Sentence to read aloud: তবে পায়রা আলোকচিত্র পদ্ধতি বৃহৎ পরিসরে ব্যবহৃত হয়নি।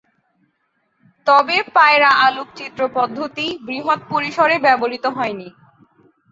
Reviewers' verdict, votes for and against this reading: accepted, 16, 0